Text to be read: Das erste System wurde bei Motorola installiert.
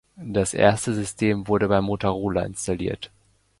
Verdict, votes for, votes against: accepted, 2, 0